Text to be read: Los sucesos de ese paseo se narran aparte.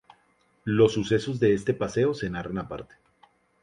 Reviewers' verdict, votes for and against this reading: accepted, 2, 0